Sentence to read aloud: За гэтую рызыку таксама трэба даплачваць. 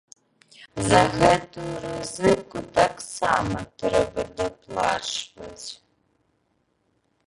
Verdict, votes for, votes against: rejected, 0, 2